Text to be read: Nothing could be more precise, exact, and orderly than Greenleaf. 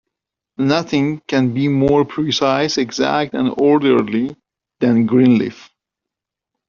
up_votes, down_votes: 1, 2